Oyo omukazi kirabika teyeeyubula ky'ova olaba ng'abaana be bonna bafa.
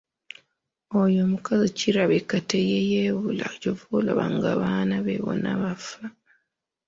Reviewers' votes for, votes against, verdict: 2, 3, rejected